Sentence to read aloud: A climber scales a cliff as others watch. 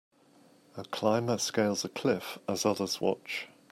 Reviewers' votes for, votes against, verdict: 2, 0, accepted